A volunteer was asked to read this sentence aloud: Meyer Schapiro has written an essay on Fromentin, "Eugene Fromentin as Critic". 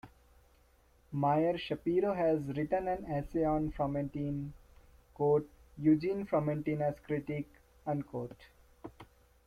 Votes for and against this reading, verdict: 2, 0, accepted